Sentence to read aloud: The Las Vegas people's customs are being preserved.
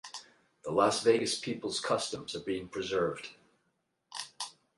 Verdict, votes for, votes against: rejected, 4, 4